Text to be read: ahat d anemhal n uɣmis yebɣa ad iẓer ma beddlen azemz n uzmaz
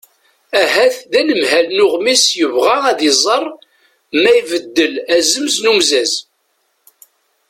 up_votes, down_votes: 1, 2